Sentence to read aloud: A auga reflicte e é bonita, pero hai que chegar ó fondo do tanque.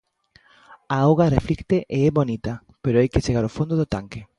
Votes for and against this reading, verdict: 2, 0, accepted